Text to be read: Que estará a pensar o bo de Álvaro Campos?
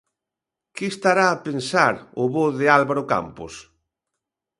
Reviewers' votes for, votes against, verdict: 2, 0, accepted